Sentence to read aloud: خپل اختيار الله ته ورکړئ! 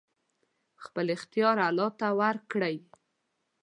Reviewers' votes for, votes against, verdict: 2, 0, accepted